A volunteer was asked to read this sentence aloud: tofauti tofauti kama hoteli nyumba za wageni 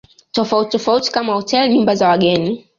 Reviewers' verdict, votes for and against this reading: accepted, 2, 0